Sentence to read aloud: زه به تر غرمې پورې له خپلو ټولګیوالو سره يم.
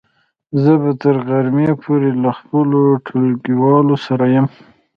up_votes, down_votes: 2, 0